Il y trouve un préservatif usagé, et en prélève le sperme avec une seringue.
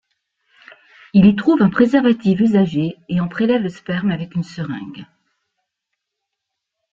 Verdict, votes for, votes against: accepted, 2, 0